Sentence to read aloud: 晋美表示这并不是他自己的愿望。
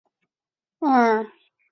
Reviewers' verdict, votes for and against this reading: rejected, 0, 5